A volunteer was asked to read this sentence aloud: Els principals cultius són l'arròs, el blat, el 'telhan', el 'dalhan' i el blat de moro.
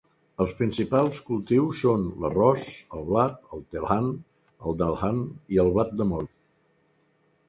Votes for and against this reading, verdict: 4, 0, accepted